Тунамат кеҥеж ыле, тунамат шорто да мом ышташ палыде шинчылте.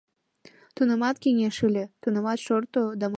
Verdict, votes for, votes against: rejected, 1, 2